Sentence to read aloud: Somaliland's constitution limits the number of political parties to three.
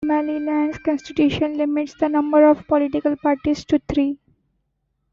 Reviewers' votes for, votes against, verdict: 2, 1, accepted